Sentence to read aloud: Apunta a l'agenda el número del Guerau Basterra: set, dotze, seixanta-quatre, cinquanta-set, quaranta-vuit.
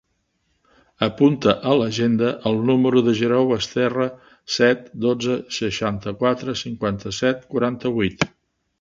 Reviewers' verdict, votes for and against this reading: rejected, 0, 2